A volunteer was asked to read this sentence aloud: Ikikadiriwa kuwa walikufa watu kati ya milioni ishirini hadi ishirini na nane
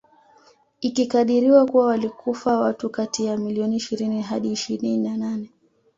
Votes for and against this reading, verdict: 2, 0, accepted